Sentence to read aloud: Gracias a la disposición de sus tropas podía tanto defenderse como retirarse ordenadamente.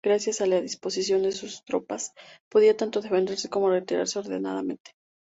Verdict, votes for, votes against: accepted, 2, 0